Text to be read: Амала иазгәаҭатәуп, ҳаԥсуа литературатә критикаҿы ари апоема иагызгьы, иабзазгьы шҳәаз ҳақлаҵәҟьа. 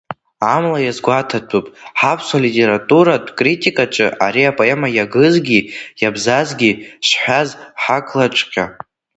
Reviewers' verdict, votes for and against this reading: accepted, 2, 1